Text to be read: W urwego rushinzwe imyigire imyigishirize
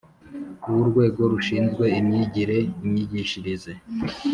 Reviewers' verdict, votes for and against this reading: accepted, 2, 0